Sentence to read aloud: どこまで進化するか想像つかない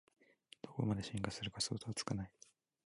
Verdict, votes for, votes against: rejected, 1, 2